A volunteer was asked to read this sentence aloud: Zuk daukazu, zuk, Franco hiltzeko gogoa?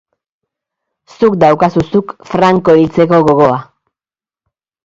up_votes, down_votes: 2, 0